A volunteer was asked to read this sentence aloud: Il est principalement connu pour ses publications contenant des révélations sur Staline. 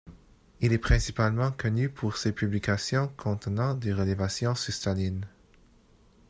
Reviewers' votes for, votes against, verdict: 1, 2, rejected